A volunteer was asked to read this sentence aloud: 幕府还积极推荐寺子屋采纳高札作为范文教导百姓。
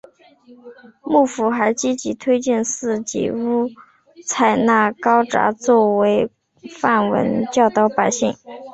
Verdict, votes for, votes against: accepted, 8, 0